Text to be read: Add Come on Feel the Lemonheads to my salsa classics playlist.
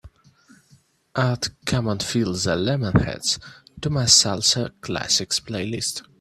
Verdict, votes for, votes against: accepted, 2, 0